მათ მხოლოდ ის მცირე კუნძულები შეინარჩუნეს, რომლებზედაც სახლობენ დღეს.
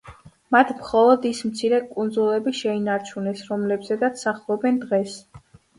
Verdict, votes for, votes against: accepted, 2, 0